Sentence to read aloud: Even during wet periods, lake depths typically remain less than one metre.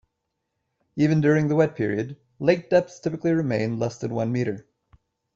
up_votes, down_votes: 0, 2